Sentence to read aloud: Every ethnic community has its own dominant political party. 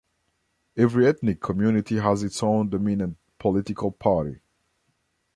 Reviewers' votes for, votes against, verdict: 2, 1, accepted